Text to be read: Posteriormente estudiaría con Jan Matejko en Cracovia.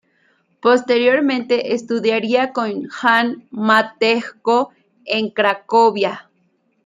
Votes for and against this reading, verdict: 2, 0, accepted